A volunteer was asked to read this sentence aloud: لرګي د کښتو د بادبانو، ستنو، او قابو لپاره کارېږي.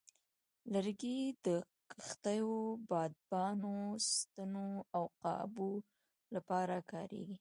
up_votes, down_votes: 2, 1